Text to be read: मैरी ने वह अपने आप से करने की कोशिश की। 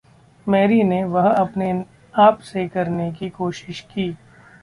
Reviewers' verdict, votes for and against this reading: rejected, 0, 2